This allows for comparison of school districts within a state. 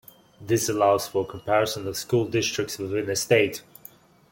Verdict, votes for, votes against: rejected, 0, 2